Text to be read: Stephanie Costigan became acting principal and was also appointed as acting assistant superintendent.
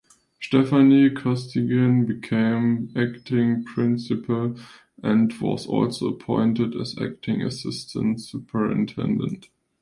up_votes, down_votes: 2, 1